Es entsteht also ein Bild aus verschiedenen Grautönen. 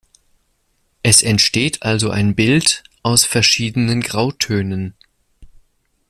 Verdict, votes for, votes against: accepted, 2, 0